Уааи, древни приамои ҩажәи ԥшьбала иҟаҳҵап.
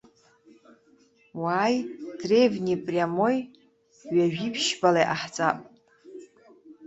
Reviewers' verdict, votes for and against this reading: rejected, 1, 2